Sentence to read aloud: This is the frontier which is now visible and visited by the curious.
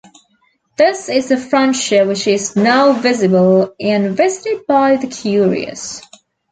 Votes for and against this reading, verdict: 2, 1, accepted